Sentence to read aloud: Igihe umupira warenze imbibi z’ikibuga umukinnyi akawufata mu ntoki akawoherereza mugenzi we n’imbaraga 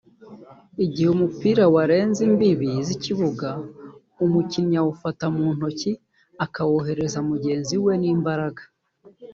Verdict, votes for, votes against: rejected, 1, 2